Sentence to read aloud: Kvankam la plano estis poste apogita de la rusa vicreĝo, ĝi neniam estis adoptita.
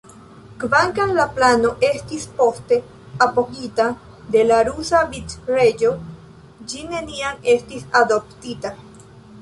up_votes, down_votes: 2, 1